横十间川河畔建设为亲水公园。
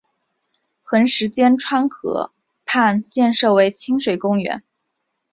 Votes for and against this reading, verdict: 6, 0, accepted